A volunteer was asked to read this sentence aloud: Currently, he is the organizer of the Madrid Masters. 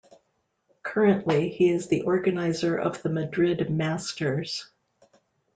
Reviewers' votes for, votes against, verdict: 2, 0, accepted